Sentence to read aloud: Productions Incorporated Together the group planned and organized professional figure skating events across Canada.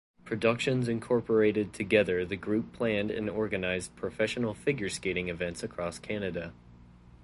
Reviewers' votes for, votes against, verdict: 4, 0, accepted